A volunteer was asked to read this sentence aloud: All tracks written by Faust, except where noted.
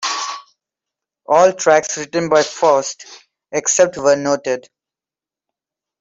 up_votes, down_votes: 2, 0